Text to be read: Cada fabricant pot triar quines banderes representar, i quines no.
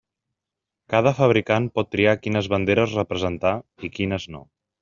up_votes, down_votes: 3, 0